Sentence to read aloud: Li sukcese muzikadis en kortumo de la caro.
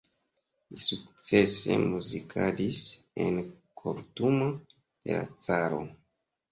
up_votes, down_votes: 0, 2